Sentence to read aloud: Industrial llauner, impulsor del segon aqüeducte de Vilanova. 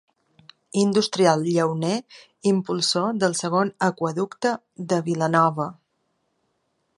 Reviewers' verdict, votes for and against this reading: accepted, 2, 0